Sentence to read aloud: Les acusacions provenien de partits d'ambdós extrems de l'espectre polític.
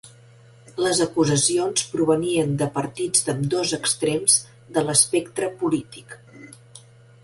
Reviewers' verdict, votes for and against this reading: accepted, 3, 0